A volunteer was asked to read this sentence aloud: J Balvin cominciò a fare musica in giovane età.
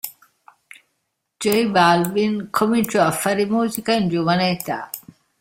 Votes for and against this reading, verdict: 2, 0, accepted